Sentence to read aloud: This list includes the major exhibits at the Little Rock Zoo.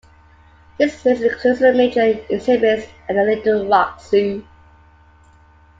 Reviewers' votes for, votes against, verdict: 1, 2, rejected